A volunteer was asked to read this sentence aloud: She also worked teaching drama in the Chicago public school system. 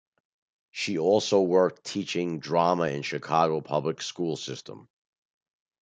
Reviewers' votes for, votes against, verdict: 0, 2, rejected